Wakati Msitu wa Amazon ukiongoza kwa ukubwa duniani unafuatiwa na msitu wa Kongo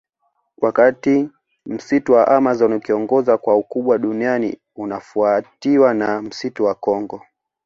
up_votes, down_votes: 2, 0